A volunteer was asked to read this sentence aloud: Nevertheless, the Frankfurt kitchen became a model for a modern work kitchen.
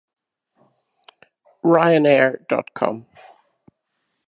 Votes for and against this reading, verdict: 0, 2, rejected